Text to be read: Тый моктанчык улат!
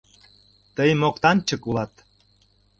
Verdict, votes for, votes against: accepted, 2, 0